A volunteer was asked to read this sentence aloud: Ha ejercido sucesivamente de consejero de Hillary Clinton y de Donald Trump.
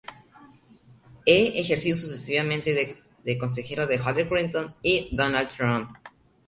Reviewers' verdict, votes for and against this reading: rejected, 0, 2